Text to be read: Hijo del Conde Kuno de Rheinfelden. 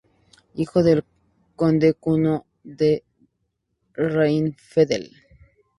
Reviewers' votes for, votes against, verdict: 0, 2, rejected